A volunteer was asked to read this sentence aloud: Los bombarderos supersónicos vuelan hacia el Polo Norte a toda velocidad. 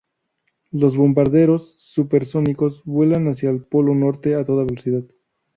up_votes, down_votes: 4, 0